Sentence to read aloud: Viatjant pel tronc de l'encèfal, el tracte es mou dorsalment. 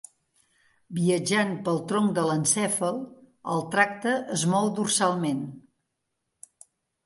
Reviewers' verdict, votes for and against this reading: accepted, 2, 0